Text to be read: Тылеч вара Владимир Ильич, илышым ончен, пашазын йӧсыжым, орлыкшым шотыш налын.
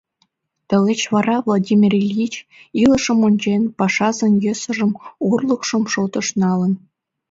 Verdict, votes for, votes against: accepted, 2, 0